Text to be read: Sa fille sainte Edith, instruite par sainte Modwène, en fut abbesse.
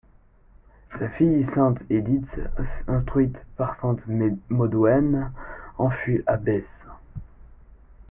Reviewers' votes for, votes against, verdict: 1, 2, rejected